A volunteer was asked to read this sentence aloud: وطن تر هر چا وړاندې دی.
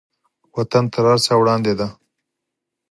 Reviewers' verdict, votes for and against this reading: accepted, 6, 0